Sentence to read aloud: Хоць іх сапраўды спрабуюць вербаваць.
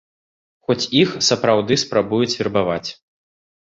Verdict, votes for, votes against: accepted, 2, 0